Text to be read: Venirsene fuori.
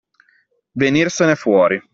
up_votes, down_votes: 2, 0